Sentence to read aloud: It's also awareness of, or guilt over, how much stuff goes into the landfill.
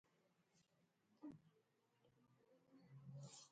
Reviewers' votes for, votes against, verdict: 0, 2, rejected